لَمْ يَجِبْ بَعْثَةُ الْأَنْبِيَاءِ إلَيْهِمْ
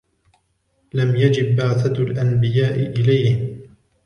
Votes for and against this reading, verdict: 2, 1, accepted